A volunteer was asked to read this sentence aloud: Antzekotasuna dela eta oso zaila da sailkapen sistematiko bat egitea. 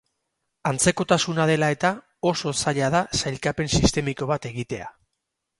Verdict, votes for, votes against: rejected, 4, 4